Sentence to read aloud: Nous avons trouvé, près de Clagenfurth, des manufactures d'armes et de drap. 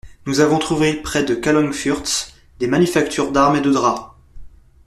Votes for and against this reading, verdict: 0, 2, rejected